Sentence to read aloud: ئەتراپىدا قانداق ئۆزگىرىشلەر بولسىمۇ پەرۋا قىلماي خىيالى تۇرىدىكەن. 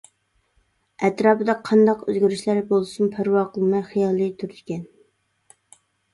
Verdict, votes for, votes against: accepted, 2, 1